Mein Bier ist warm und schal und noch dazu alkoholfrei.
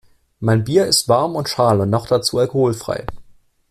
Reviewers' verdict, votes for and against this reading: accepted, 2, 0